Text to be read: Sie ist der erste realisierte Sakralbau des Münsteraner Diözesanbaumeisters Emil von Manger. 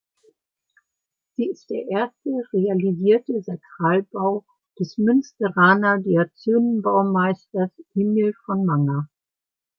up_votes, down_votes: 1, 2